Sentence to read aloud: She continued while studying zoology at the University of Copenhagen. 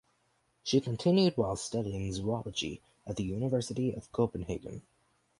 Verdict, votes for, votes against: accepted, 4, 0